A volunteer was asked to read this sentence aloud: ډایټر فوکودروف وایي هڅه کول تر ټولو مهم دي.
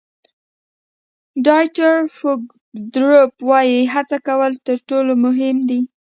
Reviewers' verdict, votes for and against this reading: rejected, 1, 2